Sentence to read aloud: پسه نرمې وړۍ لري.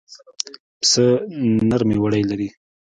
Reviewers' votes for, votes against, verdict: 2, 0, accepted